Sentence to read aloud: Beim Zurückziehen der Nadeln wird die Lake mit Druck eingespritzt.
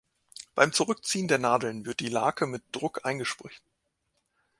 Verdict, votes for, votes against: rejected, 1, 2